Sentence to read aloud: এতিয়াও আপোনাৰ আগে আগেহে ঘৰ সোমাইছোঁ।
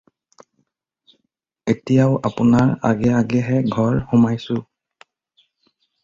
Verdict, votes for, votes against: accepted, 4, 0